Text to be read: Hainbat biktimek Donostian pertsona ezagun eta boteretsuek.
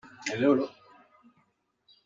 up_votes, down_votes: 0, 2